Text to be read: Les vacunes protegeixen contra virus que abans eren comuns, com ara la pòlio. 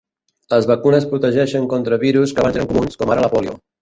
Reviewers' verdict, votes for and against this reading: rejected, 2, 3